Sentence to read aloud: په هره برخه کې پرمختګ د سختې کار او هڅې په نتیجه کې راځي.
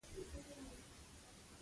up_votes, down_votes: 0, 2